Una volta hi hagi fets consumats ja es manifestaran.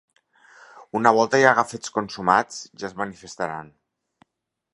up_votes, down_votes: 2, 4